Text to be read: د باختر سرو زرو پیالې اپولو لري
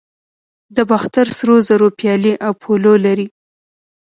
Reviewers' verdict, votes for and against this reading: rejected, 1, 2